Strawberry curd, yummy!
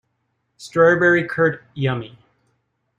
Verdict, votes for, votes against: accepted, 2, 0